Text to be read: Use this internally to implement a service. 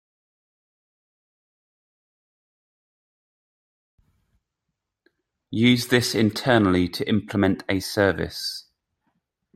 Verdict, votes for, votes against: accepted, 2, 0